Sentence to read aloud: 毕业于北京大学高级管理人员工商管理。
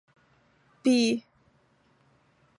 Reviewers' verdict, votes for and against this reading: rejected, 0, 2